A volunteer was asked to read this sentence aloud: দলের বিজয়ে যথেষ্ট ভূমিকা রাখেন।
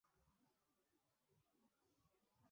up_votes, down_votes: 0, 5